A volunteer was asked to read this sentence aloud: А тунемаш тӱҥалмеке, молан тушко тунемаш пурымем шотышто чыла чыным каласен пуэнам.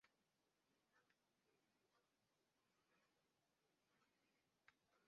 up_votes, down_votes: 0, 2